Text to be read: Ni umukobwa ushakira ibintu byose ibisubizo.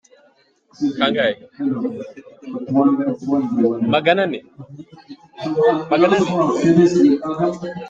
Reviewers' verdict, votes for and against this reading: rejected, 0, 3